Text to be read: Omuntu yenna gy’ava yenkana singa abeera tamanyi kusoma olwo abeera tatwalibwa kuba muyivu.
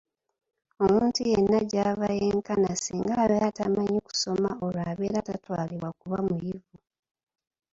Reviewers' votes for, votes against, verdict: 1, 2, rejected